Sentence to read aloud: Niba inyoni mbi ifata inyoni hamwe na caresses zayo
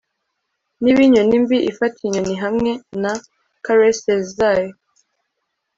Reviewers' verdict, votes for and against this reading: accepted, 2, 0